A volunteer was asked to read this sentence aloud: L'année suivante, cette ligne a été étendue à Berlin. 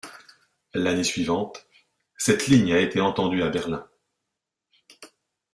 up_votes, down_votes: 1, 2